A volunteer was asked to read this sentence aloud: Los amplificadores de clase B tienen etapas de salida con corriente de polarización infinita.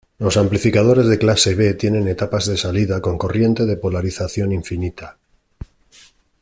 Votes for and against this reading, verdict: 2, 0, accepted